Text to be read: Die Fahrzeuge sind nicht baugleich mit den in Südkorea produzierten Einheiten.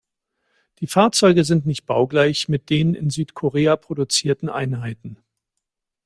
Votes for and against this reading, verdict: 2, 0, accepted